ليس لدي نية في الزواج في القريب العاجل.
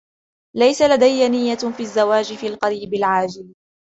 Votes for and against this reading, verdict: 2, 0, accepted